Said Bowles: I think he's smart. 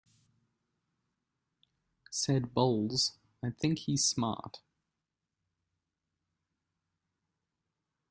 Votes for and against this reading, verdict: 2, 0, accepted